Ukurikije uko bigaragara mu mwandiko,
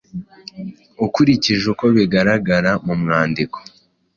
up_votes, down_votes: 2, 0